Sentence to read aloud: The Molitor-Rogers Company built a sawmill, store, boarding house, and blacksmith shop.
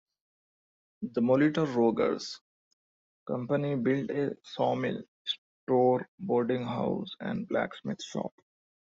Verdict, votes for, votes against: accepted, 2, 1